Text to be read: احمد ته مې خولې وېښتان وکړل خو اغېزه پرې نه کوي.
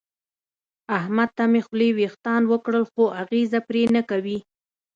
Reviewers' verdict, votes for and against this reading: accepted, 2, 0